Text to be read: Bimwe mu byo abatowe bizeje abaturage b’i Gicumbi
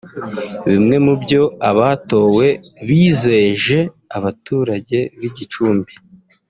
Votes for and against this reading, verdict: 0, 2, rejected